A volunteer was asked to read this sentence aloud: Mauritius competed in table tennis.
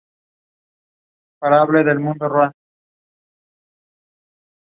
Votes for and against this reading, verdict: 0, 2, rejected